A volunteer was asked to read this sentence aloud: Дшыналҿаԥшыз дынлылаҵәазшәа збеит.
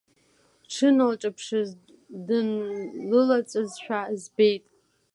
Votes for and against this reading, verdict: 2, 0, accepted